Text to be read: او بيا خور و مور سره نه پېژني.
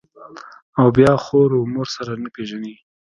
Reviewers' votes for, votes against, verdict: 1, 2, rejected